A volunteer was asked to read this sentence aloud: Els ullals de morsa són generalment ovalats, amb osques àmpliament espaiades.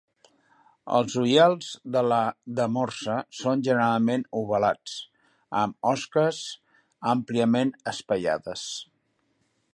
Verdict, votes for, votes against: rejected, 0, 2